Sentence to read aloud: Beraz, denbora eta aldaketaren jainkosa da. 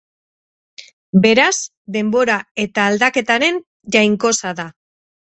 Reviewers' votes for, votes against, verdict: 4, 0, accepted